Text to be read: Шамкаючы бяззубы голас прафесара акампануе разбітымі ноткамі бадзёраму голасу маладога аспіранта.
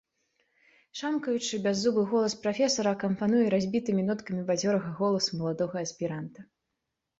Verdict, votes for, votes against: rejected, 1, 2